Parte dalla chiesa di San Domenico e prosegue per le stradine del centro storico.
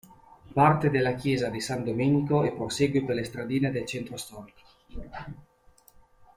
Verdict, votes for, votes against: rejected, 0, 2